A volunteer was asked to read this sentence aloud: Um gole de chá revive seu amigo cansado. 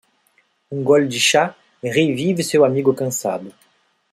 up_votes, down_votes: 2, 0